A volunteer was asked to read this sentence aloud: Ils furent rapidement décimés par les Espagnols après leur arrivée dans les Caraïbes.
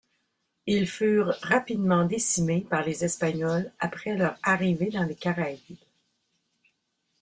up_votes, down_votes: 2, 0